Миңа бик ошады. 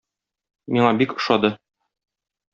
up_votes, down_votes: 2, 0